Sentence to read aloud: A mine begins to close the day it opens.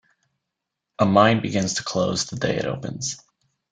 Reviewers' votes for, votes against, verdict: 2, 0, accepted